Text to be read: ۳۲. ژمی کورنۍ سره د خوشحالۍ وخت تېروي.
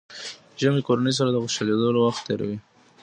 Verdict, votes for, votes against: rejected, 0, 2